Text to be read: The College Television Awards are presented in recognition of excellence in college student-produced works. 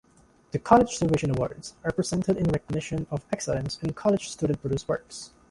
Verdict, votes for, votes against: accepted, 2, 0